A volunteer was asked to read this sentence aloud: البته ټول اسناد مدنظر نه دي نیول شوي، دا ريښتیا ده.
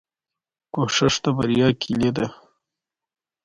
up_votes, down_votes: 1, 2